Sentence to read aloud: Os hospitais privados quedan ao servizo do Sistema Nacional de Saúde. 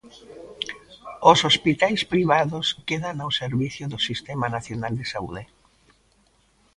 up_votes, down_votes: 2, 0